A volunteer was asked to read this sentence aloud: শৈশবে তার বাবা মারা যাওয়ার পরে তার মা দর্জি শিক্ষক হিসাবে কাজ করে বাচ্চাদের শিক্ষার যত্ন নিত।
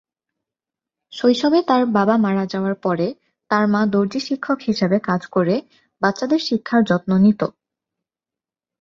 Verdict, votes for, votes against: accepted, 2, 0